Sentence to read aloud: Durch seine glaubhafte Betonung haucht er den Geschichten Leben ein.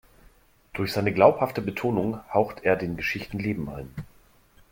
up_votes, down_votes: 2, 0